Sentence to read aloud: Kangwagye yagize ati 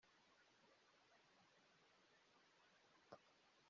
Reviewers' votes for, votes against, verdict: 0, 2, rejected